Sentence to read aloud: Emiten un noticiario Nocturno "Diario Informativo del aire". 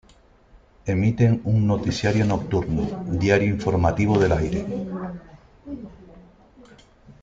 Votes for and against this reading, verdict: 2, 0, accepted